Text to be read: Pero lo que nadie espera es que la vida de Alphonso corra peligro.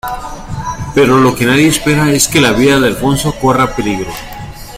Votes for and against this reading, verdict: 2, 0, accepted